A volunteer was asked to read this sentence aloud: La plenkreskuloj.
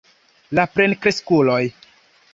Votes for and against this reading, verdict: 2, 0, accepted